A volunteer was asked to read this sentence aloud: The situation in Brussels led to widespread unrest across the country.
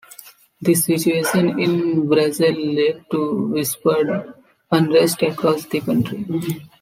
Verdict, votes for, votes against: rejected, 1, 2